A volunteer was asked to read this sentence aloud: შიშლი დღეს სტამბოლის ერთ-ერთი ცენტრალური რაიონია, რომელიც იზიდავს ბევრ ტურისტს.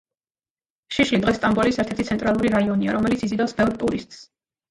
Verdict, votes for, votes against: accepted, 2, 0